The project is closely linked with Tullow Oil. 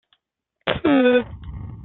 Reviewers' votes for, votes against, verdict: 0, 2, rejected